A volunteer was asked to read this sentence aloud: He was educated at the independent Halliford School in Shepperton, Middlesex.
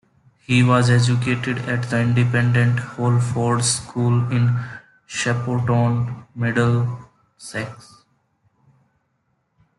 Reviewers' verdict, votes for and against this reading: rejected, 0, 2